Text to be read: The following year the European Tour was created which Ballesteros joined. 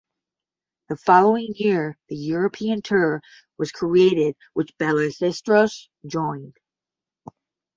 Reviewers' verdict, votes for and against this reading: rejected, 0, 10